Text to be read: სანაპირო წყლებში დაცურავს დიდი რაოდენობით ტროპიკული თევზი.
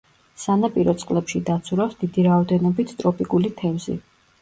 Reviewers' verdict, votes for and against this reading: accepted, 2, 0